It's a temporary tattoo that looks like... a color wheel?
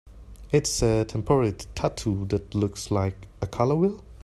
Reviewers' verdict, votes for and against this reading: rejected, 1, 2